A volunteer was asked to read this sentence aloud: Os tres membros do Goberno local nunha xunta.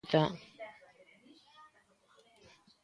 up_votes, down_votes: 0, 2